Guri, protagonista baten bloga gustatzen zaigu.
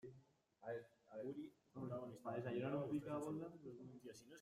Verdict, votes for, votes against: rejected, 0, 2